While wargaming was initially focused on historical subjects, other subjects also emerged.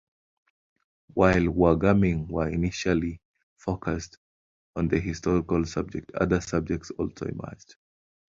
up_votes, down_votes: 0, 2